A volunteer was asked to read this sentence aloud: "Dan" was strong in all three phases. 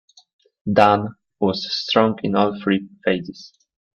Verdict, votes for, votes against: rejected, 1, 2